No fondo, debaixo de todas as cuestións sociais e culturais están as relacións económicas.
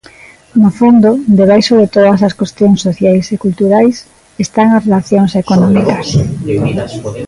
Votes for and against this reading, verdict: 1, 3, rejected